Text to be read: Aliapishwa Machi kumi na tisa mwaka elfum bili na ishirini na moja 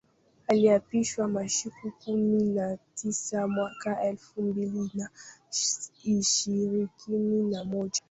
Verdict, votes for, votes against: rejected, 0, 2